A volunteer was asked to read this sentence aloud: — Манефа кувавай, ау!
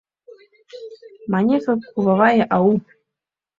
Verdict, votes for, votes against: accepted, 2, 0